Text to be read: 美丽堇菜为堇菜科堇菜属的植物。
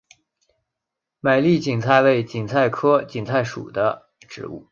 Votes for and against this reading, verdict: 2, 0, accepted